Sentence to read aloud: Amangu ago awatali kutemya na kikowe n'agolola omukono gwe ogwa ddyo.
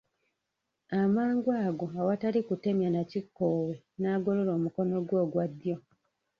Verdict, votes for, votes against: rejected, 0, 2